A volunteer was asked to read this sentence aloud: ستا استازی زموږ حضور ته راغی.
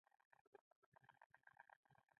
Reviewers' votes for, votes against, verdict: 1, 2, rejected